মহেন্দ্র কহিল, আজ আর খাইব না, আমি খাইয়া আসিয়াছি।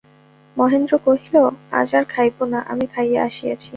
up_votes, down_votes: 2, 0